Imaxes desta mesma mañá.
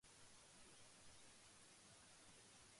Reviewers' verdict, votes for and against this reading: rejected, 0, 2